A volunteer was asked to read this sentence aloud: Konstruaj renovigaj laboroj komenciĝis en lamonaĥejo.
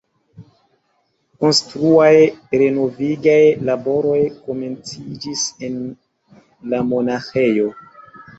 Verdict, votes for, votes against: accepted, 2, 0